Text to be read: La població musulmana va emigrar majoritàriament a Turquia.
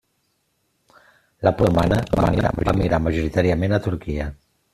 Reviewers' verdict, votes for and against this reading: rejected, 0, 2